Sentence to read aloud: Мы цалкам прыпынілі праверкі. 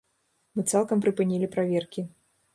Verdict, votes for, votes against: accepted, 3, 0